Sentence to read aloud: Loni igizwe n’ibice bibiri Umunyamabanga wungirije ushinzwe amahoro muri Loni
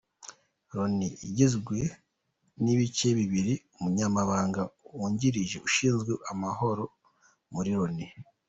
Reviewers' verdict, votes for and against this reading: rejected, 0, 2